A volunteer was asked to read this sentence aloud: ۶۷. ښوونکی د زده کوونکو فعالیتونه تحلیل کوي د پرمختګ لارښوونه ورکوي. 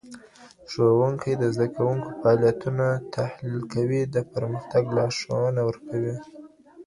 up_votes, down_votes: 0, 2